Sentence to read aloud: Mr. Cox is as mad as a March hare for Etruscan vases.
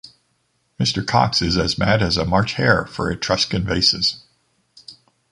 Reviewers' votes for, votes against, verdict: 2, 0, accepted